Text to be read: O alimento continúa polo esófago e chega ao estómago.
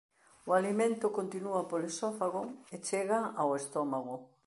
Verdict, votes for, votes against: accepted, 2, 0